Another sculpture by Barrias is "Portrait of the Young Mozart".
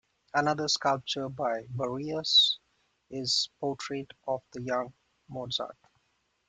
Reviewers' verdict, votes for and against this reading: accepted, 2, 1